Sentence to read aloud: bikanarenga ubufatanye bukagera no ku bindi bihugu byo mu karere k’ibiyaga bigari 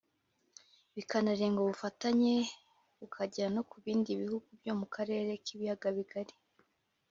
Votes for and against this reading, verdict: 2, 0, accepted